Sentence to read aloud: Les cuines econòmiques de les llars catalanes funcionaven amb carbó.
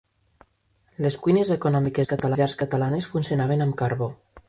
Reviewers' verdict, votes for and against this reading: rejected, 1, 2